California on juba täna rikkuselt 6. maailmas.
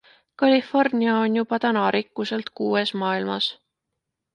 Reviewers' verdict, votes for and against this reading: rejected, 0, 2